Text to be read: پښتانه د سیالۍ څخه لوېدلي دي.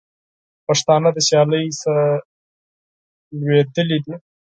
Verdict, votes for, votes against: rejected, 0, 6